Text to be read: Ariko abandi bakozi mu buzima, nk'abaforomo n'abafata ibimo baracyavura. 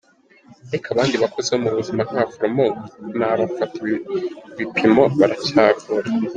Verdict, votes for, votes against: rejected, 1, 2